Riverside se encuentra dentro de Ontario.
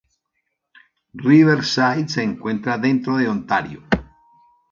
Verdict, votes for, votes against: accepted, 2, 0